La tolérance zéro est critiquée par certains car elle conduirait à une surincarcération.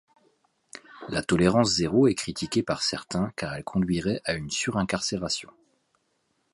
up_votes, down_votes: 2, 1